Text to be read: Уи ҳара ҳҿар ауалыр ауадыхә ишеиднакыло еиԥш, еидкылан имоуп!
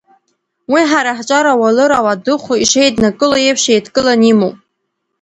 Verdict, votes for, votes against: rejected, 1, 2